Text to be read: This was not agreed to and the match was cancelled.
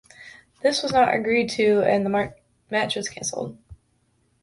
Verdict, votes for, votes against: rejected, 2, 3